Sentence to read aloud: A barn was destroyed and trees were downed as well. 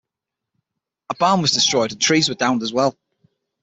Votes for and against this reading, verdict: 6, 3, accepted